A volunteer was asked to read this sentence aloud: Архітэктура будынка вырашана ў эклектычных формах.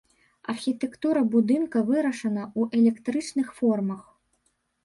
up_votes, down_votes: 1, 2